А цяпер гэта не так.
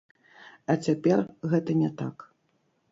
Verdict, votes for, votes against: rejected, 1, 3